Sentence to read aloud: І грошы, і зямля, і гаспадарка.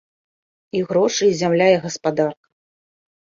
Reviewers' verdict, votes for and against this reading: accepted, 2, 1